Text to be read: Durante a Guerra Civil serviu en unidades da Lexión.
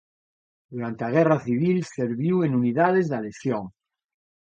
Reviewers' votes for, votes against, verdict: 1, 2, rejected